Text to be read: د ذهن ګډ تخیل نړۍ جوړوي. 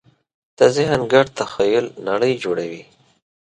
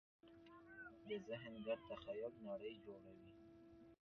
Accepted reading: first